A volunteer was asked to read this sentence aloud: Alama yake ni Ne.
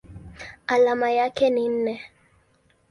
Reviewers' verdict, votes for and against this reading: accepted, 2, 1